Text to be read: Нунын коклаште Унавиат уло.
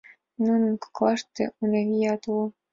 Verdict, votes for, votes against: accepted, 2, 1